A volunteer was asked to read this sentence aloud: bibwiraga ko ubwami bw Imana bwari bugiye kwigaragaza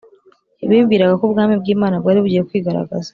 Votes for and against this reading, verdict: 2, 0, accepted